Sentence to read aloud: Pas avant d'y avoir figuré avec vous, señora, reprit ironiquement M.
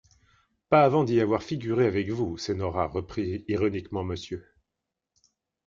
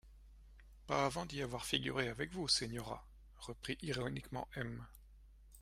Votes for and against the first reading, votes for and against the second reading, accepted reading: 1, 2, 2, 0, second